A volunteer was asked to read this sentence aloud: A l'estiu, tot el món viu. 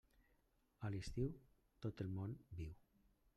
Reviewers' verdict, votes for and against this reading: rejected, 0, 2